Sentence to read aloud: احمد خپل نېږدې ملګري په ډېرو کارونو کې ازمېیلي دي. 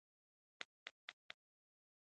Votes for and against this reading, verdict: 1, 2, rejected